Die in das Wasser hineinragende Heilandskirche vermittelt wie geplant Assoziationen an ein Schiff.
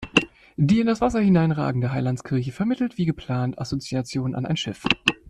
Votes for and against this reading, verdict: 2, 0, accepted